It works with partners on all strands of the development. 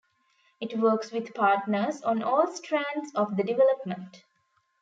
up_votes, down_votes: 2, 0